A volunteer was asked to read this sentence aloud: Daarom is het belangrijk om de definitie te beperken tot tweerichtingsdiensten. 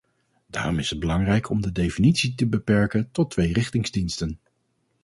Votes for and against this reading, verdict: 4, 0, accepted